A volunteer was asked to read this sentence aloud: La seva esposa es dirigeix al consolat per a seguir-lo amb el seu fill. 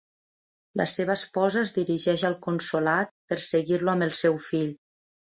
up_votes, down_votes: 1, 2